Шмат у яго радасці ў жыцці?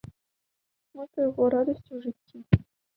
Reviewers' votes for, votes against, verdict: 1, 2, rejected